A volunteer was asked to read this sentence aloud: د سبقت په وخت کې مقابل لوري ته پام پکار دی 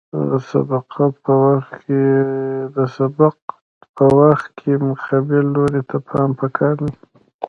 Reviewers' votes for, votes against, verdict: 2, 0, accepted